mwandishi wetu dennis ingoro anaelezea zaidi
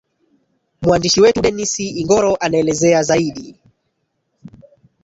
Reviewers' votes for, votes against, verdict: 6, 2, accepted